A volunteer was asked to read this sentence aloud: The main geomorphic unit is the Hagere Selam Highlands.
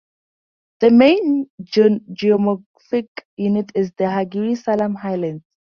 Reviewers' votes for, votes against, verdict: 0, 4, rejected